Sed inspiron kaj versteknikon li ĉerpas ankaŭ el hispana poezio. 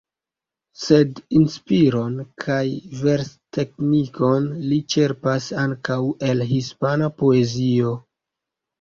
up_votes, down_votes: 2, 0